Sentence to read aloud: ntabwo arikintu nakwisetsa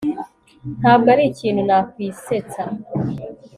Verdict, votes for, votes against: accepted, 2, 0